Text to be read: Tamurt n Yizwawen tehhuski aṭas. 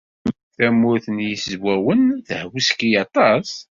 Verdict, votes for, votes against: accepted, 2, 0